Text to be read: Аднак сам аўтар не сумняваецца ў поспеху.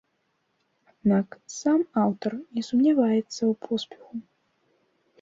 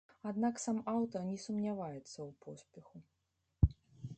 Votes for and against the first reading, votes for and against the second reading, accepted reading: 2, 1, 1, 2, first